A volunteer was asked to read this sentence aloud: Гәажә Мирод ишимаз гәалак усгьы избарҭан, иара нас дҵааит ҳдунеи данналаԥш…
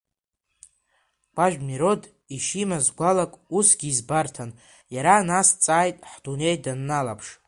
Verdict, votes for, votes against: accepted, 2, 1